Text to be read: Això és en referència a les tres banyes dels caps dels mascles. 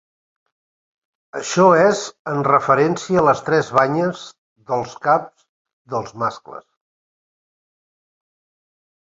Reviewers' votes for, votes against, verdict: 3, 0, accepted